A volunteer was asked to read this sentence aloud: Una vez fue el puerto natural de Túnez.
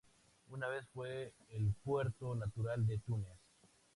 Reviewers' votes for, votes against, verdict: 2, 0, accepted